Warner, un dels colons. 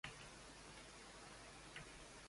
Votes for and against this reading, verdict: 0, 2, rejected